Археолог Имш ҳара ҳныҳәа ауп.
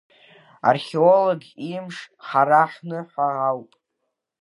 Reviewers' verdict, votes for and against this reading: rejected, 1, 2